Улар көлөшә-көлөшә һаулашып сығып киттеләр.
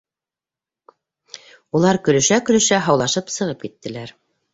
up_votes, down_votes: 2, 0